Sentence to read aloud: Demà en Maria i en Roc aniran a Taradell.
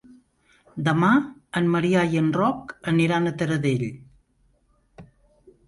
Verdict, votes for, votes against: rejected, 1, 2